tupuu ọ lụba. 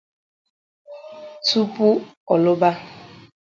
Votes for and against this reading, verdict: 4, 0, accepted